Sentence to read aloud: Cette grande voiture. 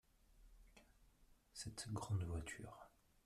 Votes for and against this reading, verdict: 1, 2, rejected